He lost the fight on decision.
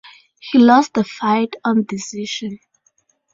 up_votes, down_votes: 4, 0